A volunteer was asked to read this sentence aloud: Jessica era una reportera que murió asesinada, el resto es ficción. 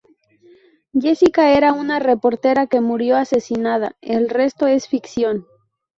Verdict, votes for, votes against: rejected, 0, 2